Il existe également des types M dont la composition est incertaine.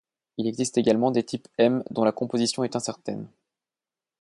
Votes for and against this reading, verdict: 2, 0, accepted